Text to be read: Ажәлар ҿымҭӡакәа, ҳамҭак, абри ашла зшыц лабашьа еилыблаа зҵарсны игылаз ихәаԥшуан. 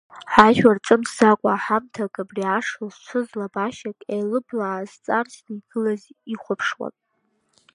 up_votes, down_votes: 2, 1